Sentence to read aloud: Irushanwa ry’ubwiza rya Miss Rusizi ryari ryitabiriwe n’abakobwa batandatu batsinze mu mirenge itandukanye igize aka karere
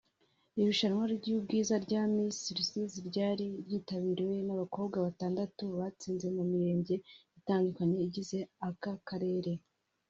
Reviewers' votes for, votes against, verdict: 2, 0, accepted